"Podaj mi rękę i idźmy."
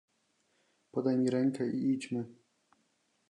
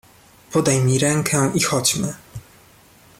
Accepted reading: first